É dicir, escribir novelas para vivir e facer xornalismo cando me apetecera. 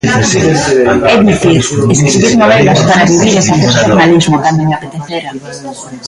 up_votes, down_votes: 0, 2